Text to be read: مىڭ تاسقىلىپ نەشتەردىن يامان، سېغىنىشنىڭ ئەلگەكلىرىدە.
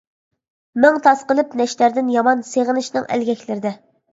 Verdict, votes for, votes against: accepted, 2, 0